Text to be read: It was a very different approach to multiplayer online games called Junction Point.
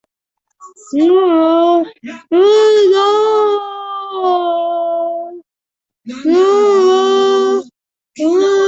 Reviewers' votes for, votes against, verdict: 0, 2, rejected